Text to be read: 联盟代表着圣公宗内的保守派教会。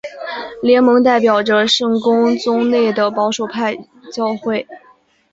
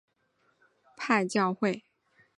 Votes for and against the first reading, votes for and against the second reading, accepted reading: 2, 0, 1, 2, first